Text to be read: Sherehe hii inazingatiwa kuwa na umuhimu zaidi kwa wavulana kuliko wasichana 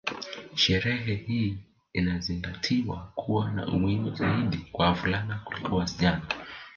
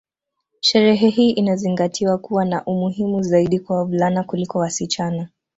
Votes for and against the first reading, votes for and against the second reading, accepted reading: 1, 2, 2, 0, second